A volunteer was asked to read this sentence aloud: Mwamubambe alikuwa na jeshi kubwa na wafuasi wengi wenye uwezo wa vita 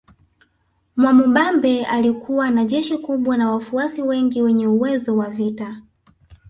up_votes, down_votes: 5, 0